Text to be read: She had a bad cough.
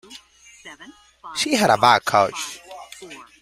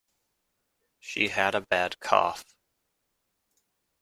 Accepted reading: second